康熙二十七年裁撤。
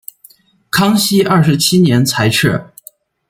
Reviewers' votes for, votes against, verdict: 0, 2, rejected